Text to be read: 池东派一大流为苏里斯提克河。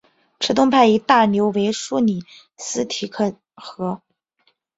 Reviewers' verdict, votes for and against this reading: accepted, 3, 1